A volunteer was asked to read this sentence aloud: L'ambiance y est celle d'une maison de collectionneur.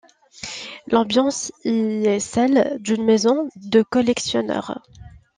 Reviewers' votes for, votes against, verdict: 2, 0, accepted